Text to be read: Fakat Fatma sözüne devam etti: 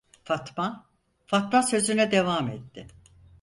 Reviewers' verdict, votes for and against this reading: rejected, 0, 4